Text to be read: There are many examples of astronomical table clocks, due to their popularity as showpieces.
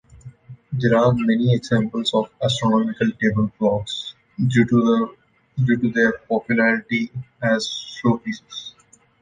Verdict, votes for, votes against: rejected, 0, 2